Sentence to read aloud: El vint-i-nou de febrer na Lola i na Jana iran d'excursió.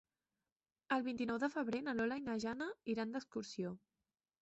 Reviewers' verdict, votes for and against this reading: accepted, 3, 0